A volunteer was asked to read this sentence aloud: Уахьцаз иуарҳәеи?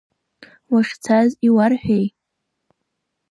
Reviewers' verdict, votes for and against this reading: rejected, 1, 2